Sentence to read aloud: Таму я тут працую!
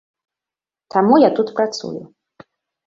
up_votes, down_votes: 2, 0